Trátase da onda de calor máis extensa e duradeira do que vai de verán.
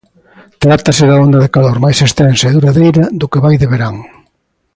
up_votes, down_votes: 2, 0